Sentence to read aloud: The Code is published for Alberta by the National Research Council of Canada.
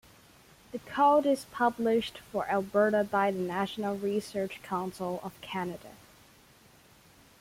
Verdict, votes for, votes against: accepted, 2, 0